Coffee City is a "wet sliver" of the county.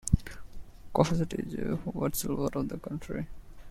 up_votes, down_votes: 1, 2